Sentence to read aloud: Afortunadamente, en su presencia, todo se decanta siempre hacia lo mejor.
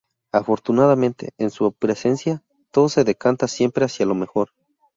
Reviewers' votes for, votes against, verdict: 2, 2, rejected